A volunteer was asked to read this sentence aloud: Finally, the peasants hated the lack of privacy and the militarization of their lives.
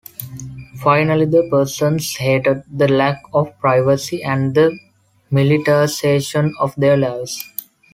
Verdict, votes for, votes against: accepted, 2, 1